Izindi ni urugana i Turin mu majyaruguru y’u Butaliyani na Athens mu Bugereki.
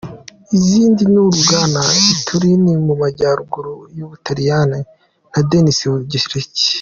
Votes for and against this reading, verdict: 2, 1, accepted